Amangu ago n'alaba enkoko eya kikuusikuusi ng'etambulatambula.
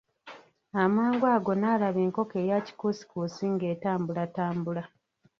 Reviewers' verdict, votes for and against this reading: accepted, 2, 1